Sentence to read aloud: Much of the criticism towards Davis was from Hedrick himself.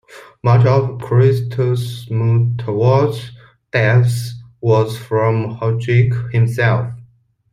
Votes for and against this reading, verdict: 0, 2, rejected